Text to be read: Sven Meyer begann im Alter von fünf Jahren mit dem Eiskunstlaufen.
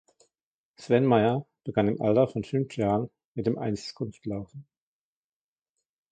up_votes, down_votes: 1, 2